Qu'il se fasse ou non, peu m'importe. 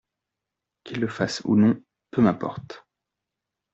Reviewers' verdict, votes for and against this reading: rejected, 1, 2